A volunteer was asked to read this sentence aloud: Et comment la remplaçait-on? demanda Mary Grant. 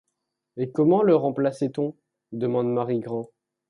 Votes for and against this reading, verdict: 0, 3, rejected